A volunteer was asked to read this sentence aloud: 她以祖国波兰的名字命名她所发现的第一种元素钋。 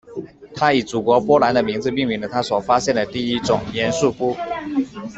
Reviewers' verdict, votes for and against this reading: rejected, 1, 2